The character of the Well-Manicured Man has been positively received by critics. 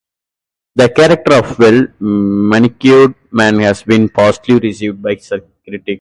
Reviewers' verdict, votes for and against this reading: accepted, 2, 0